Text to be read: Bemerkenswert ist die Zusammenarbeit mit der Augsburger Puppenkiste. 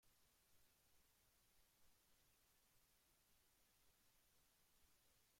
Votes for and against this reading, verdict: 0, 2, rejected